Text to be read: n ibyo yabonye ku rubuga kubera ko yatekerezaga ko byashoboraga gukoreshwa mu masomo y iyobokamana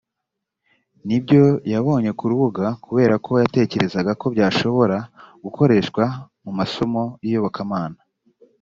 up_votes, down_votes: 2, 0